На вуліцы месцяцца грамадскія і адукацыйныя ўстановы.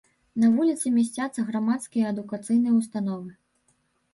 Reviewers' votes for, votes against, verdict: 1, 2, rejected